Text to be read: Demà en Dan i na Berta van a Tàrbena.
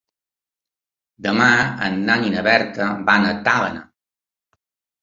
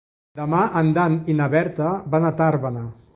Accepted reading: second